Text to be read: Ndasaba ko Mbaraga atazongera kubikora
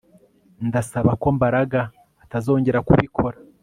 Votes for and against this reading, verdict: 2, 0, accepted